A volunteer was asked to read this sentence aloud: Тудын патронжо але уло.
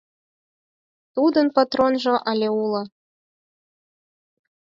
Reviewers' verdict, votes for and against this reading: accepted, 4, 0